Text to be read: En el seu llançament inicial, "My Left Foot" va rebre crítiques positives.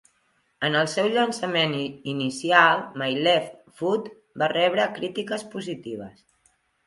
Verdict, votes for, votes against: rejected, 1, 2